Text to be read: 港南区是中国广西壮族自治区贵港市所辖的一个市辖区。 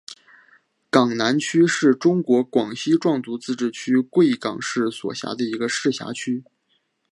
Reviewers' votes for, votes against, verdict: 4, 0, accepted